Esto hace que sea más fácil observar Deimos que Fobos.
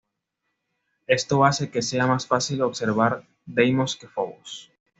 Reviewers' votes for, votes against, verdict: 2, 0, accepted